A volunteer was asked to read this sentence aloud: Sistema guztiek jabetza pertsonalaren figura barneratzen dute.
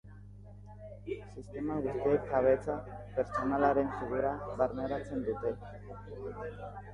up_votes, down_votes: 2, 2